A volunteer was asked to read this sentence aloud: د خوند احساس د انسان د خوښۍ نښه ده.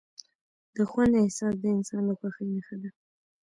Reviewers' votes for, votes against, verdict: 0, 2, rejected